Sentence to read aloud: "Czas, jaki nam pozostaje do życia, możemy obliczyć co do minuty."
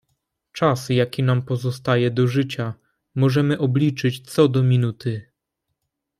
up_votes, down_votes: 2, 0